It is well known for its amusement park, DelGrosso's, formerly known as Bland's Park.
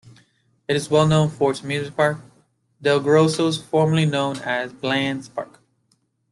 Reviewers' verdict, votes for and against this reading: accepted, 2, 0